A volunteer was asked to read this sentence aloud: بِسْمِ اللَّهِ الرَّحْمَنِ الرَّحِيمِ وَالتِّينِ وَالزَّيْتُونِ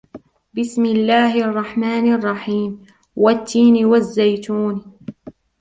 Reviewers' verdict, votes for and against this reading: rejected, 0, 2